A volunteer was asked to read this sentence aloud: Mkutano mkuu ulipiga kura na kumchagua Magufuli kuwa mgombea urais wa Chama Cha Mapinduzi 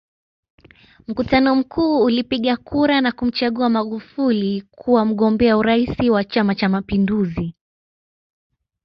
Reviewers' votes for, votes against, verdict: 2, 0, accepted